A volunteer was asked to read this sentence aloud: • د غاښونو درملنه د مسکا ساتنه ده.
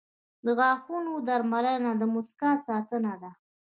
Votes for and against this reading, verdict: 2, 0, accepted